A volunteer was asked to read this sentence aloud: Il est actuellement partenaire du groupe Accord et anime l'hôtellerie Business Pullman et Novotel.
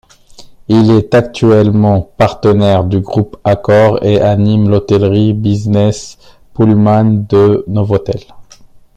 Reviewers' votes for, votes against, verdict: 0, 2, rejected